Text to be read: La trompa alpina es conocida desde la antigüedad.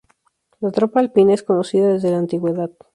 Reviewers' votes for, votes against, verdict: 0, 2, rejected